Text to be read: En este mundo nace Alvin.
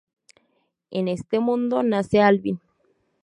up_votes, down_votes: 4, 0